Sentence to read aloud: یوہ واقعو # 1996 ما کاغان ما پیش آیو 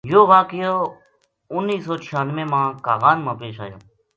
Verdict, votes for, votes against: rejected, 0, 2